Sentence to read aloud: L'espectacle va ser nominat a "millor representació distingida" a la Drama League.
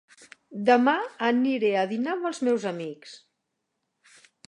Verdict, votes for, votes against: rejected, 0, 2